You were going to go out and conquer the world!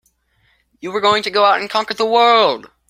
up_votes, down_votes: 2, 0